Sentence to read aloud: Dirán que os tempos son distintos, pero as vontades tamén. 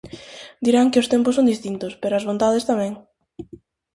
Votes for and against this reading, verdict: 4, 0, accepted